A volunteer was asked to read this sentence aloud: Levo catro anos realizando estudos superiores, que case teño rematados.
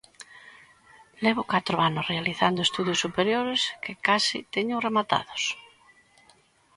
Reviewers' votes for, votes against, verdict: 2, 0, accepted